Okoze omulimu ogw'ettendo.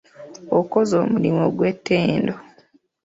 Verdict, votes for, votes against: accepted, 2, 0